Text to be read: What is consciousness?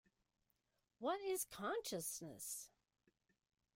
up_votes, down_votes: 2, 0